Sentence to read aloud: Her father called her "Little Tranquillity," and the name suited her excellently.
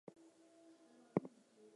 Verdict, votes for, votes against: rejected, 0, 4